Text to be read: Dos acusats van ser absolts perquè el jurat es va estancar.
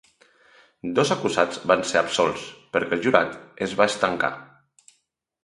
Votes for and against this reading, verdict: 2, 0, accepted